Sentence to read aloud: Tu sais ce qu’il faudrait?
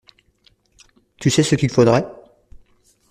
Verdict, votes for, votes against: accepted, 2, 0